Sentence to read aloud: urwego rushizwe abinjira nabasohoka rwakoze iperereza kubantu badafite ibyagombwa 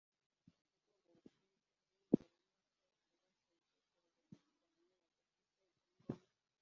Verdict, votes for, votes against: rejected, 0, 2